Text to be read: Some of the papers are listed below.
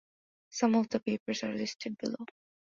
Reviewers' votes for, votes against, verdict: 2, 0, accepted